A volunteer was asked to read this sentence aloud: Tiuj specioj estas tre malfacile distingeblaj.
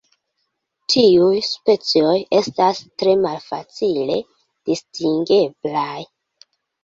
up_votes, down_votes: 0, 2